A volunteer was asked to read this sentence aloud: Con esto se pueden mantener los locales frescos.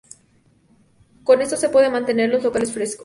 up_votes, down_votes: 0, 2